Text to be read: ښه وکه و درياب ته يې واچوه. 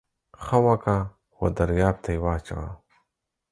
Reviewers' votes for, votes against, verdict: 4, 0, accepted